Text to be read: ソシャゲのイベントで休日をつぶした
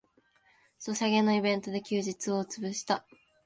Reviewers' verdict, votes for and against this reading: accepted, 2, 0